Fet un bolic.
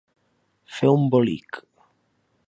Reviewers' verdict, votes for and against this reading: rejected, 0, 2